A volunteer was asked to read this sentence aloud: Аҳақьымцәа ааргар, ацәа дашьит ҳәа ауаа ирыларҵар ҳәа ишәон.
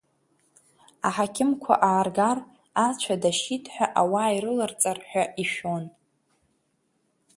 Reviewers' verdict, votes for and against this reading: rejected, 1, 3